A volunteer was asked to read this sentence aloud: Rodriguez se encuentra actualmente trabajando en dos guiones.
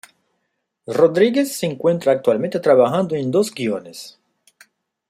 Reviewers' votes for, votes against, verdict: 2, 0, accepted